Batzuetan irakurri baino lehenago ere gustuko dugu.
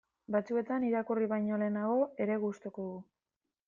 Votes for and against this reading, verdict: 0, 2, rejected